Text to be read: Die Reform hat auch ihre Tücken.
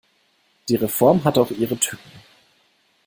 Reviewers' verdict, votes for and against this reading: rejected, 0, 2